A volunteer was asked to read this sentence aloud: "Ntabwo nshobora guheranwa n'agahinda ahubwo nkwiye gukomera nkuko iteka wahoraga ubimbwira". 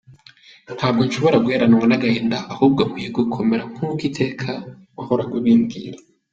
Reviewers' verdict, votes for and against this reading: accepted, 2, 0